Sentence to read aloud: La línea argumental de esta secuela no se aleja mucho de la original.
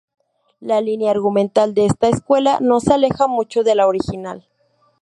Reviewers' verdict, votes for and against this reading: rejected, 0, 2